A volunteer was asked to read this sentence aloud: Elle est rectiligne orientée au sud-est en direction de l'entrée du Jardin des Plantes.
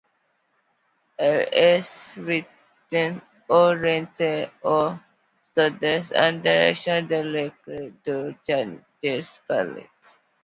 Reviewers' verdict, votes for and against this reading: rejected, 1, 2